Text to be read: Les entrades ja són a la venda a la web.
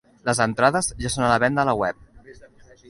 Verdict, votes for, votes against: accepted, 2, 0